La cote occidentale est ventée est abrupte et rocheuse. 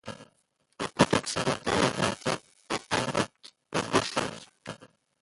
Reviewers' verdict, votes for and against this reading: rejected, 0, 2